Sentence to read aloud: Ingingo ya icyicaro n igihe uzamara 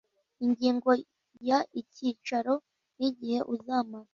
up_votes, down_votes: 2, 0